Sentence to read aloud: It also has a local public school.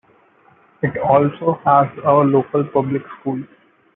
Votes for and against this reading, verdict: 2, 0, accepted